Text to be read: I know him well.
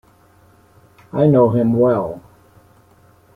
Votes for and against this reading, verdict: 1, 2, rejected